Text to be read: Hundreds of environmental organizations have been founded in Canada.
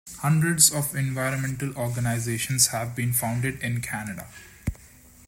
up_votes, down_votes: 2, 0